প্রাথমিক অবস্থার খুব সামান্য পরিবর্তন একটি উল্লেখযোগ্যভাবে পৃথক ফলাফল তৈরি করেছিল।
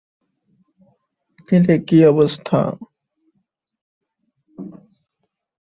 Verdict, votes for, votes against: rejected, 0, 3